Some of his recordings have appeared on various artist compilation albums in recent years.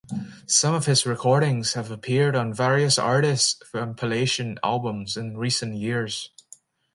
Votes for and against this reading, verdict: 0, 2, rejected